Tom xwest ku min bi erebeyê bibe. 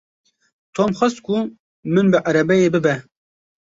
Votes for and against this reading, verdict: 2, 0, accepted